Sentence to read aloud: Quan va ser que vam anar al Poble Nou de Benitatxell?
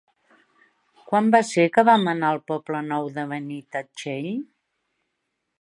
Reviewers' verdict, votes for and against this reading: accepted, 2, 0